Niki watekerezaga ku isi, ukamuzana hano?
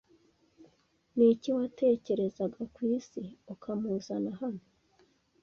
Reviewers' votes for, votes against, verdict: 2, 0, accepted